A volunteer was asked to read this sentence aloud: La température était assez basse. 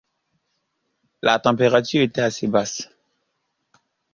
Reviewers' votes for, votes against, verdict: 2, 1, accepted